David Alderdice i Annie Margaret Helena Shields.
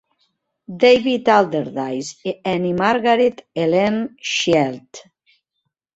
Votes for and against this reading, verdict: 1, 2, rejected